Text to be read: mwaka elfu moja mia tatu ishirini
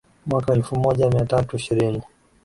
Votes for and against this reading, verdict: 2, 0, accepted